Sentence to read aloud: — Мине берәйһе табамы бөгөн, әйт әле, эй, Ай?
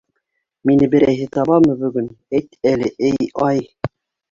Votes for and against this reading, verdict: 1, 2, rejected